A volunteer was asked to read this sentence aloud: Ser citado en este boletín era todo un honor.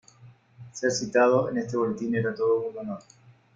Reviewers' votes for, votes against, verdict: 2, 0, accepted